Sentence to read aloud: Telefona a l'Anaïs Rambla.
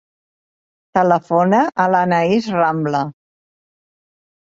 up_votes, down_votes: 3, 0